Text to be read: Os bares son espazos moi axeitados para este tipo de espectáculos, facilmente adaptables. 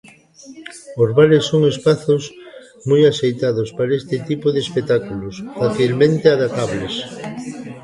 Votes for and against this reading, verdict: 0, 2, rejected